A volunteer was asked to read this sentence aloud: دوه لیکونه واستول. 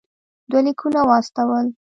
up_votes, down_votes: 1, 2